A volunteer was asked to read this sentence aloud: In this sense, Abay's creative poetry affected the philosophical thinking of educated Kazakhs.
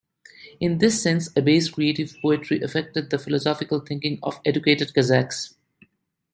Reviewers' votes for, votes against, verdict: 2, 1, accepted